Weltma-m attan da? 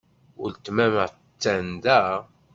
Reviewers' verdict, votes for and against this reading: rejected, 1, 2